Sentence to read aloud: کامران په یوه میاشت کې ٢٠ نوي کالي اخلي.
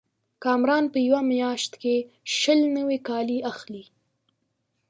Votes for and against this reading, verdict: 0, 2, rejected